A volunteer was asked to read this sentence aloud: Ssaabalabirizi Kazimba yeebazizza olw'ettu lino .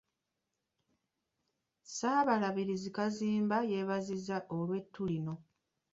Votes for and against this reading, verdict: 0, 2, rejected